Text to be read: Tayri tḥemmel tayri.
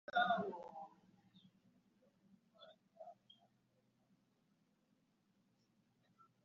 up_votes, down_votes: 0, 2